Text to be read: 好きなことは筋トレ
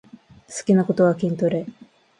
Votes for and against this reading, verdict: 2, 0, accepted